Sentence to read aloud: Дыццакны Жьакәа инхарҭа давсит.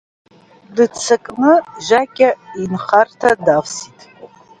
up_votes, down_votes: 1, 3